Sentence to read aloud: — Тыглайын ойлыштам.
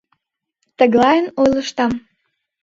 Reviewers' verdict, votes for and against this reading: accepted, 2, 0